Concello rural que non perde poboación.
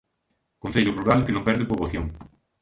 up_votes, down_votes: 2, 0